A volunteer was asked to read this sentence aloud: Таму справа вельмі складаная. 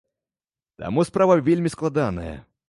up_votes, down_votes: 2, 0